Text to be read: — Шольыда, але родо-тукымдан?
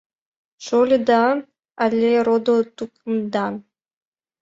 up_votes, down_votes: 2, 0